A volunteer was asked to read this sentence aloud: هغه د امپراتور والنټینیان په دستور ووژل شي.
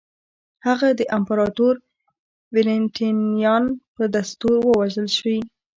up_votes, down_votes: 1, 2